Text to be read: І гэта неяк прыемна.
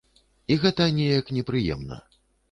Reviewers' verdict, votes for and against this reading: rejected, 0, 2